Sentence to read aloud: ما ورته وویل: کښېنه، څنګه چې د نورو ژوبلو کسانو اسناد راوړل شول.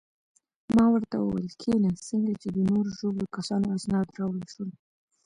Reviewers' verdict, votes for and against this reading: accepted, 2, 1